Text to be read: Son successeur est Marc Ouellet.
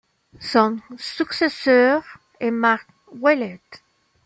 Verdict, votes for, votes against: accepted, 2, 0